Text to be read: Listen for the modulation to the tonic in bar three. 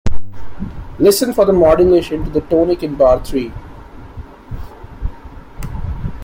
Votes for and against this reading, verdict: 1, 2, rejected